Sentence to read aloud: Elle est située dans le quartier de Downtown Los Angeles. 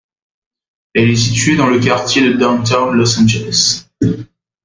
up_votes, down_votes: 2, 1